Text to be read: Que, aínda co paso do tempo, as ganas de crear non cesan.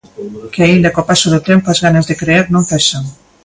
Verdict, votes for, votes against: accepted, 2, 1